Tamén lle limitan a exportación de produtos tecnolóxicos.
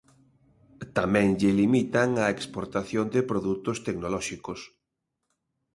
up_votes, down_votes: 2, 0